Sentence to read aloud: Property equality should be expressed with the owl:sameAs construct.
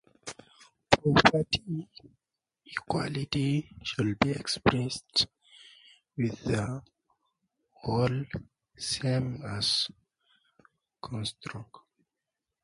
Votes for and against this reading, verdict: 2, 2, rejected